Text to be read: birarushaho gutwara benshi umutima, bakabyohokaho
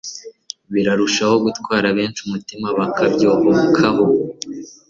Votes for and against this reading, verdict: 2, 0, accepted